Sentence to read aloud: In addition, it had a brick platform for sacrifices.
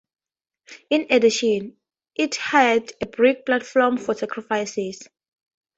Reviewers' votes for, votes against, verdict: 2, 0, accepted